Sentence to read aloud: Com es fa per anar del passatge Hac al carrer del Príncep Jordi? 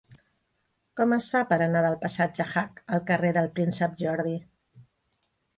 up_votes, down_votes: 2, 1